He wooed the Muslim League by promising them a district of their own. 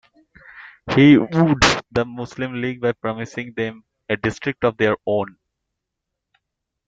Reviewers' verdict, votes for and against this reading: rejected, 0, 2